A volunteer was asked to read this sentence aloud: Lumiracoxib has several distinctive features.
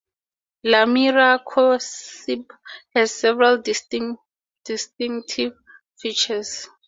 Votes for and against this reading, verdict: 4, 0, accepted